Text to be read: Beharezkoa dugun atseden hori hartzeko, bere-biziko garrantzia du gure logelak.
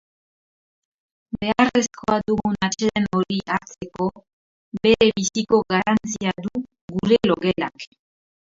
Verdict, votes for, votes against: rejected, 0, 2